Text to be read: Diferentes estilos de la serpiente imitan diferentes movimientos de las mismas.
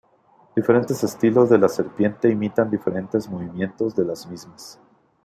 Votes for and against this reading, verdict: 2, 0, accepted